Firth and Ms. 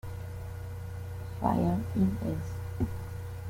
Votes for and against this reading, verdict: 1, 2, rejected